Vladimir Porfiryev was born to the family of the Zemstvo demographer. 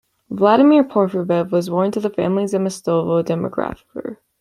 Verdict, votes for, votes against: rejected, 0, 2